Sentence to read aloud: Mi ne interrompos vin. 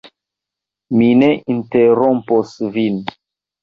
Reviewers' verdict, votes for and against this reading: rejected, 0, 2